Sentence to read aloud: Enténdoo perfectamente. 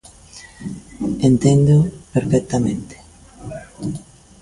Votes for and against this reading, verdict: 3, 0, accepted